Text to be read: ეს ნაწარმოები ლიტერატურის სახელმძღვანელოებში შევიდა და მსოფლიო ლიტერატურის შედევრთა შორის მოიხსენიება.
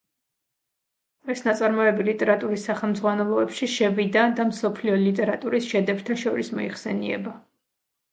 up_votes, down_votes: 2, 1